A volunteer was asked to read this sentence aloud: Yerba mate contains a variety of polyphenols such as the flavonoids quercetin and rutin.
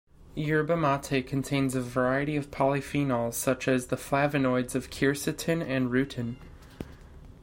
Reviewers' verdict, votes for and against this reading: rejected, 1, 2